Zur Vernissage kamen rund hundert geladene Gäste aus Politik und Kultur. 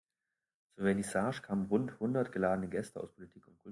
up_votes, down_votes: 1, 2